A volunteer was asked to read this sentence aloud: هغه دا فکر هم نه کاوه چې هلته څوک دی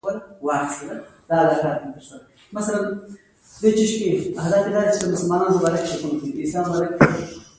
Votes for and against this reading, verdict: 0, 2, rejected